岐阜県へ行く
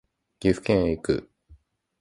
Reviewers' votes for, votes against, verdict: 2, 0, accepted